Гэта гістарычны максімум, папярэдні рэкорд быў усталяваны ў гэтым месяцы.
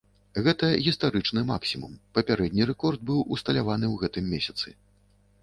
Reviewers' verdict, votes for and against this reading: accepted, 2, 0